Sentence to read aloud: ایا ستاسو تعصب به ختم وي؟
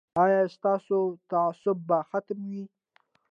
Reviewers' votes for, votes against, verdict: 2, 0, accepted